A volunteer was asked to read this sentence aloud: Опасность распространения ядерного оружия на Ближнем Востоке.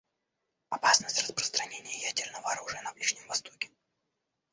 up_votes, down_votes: 2, 0